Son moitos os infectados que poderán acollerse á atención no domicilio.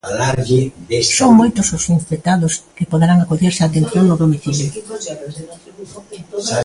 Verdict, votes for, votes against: rejected, 0, 2